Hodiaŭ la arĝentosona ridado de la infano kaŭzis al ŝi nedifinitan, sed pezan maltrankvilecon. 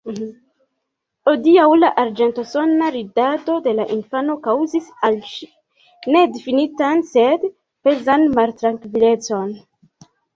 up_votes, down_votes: 0, 2